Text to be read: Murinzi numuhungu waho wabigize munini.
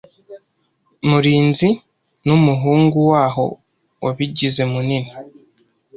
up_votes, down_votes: 2, 0